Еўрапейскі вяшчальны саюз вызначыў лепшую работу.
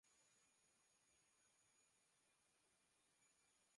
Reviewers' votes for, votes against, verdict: 0, 4, rejected